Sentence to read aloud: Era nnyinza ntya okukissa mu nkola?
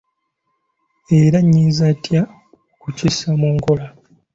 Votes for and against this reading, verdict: 2, 0, accepted